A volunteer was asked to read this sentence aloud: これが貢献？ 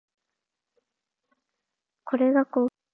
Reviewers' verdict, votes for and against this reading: rejected, 1, 2